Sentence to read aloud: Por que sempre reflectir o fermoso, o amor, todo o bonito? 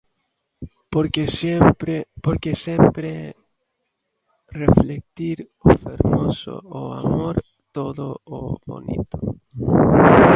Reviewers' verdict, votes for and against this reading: rejected, 0, 2